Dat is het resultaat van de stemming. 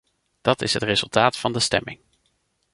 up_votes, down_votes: 2, 0